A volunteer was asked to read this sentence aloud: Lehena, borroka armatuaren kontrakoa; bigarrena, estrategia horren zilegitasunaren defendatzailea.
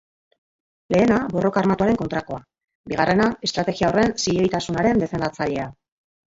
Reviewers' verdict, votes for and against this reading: rejected, 1, 2